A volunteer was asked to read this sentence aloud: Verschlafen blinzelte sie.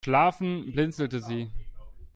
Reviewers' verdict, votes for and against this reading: rejected, 0, 2